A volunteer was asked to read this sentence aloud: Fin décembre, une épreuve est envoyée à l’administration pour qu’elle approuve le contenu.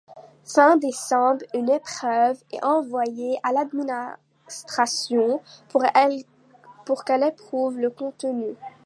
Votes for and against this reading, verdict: 0, 2, rejected